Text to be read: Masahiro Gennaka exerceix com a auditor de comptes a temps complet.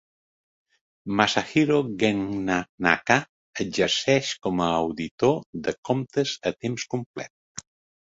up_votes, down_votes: 1, 2